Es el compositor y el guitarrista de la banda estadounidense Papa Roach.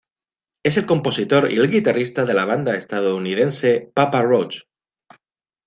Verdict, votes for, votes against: accepted, 3, 0